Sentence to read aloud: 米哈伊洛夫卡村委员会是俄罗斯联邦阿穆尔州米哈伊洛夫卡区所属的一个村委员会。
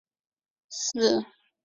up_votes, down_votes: 0, 4